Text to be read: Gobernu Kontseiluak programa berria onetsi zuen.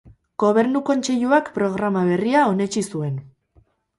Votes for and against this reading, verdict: 0, 2, rejected